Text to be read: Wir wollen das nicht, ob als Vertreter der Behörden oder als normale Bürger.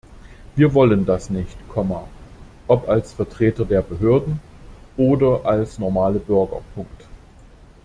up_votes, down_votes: 0, 2